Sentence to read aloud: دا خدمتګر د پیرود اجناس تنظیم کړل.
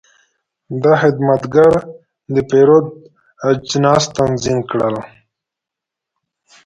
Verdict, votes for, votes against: accepted, 2, 1